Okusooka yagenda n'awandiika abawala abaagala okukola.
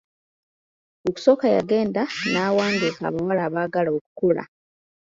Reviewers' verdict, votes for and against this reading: accepted, 2, 0